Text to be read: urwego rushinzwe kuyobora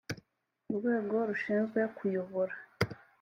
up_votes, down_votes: 3, 0